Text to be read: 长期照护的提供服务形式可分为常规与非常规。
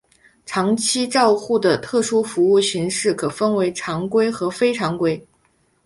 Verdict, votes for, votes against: rejected, 2, 3